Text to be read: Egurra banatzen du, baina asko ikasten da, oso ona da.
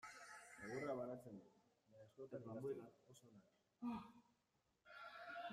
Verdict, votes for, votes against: rejected, 0, 2